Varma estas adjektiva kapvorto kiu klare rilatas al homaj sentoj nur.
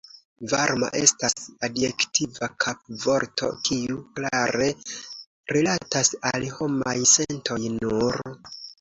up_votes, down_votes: 2, 0